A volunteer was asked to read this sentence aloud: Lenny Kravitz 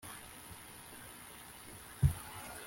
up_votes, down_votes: 0, 2